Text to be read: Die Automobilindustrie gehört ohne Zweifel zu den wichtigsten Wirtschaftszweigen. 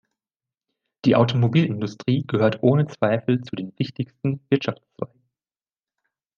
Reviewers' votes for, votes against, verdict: 1, 2, rejected